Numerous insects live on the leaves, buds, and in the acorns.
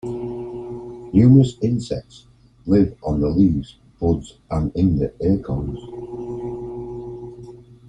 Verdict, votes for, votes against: accepted, 2, 0